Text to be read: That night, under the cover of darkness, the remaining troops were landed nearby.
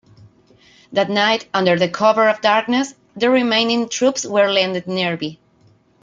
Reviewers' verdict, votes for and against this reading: rejected, 1, 3